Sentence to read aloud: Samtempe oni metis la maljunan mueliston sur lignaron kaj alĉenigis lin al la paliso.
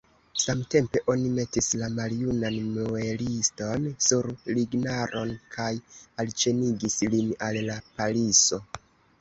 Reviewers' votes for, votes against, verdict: 0, 2, rejected